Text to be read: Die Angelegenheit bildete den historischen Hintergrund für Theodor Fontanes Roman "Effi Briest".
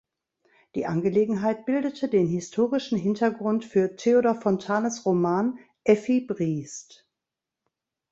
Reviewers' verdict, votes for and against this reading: accepted, 2, 0